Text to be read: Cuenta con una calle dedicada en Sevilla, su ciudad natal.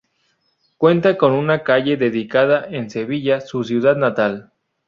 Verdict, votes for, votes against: accepted, 4, 0